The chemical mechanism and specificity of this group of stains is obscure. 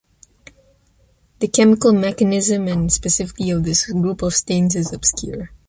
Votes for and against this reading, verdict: 0, 2, rejected